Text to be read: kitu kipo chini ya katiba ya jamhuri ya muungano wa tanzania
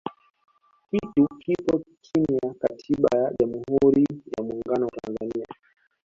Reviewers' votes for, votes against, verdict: 2, 1, accepted